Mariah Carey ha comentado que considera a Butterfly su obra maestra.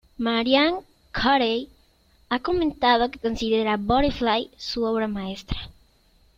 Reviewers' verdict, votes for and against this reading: rejected, 1, 2